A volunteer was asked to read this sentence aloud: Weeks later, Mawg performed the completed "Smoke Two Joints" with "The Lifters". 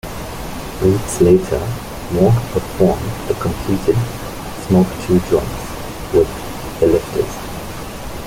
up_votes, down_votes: 3, 0